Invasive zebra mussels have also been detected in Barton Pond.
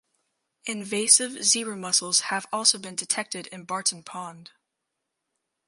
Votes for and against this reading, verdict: 2, 2, rejected